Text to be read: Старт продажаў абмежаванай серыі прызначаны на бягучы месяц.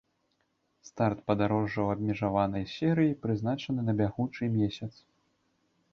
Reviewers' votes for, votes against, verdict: 1, 2, rejected